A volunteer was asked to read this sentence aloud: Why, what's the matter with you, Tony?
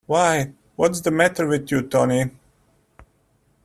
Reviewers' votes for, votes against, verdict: 2, 0, accepted